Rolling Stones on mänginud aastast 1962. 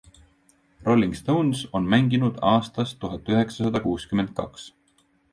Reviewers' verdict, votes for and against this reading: rejected, 0, 2